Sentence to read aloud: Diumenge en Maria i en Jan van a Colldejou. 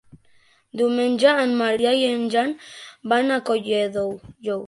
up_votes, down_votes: 0, 2